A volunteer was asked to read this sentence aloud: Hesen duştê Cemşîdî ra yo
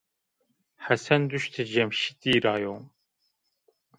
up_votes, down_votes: 0, 2